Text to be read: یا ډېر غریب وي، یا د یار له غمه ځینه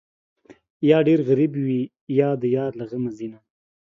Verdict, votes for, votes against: accepted, 2, 0